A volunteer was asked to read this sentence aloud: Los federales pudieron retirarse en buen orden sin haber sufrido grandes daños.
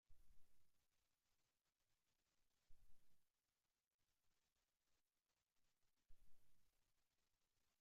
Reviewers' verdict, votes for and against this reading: rejected, 0, 2